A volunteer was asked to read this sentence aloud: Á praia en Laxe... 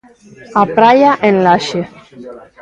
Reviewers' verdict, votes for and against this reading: accepted, 2, 0